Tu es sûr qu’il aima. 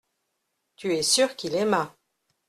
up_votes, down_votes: 2, 0